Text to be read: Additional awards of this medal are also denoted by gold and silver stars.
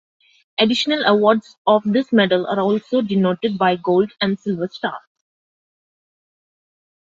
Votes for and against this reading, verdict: 2, 1, accepted